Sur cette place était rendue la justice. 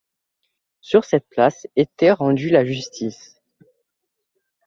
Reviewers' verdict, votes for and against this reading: accepted, 2, 0